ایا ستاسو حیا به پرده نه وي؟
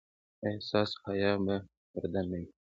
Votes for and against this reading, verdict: 2, 0, accepted